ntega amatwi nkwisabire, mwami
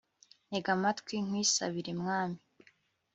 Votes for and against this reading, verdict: 3, 0, accepted